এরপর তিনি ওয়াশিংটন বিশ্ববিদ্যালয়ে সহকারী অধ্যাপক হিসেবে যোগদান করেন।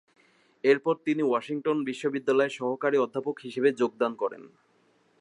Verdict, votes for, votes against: accepted, 8, 0